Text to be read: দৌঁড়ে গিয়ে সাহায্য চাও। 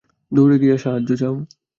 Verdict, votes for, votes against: accepted, 2, 0